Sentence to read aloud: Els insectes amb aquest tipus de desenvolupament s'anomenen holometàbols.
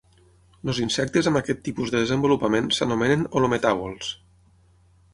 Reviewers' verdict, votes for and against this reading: rejected, 0, 6